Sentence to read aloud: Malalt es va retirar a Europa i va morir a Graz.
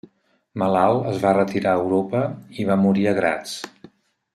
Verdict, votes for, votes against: accepted, 2, 0